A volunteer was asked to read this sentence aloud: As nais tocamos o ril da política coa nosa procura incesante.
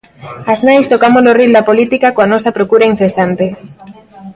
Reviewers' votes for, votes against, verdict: 2, 0, accepted